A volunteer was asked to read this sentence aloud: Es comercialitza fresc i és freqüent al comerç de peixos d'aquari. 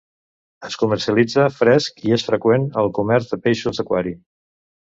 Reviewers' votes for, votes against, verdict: 2, 0, accepted